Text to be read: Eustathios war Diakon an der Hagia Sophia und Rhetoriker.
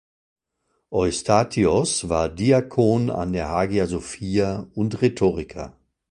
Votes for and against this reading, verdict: 2, 0, accepted